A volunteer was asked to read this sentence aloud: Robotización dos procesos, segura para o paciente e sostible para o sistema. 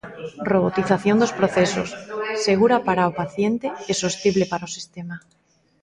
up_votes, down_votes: 0, 2